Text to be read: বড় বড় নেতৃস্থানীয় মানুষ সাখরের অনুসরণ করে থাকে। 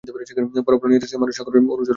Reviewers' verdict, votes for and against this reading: rejected, 0, 2